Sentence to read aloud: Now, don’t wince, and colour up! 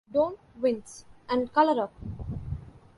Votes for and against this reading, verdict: 1, 2, rejected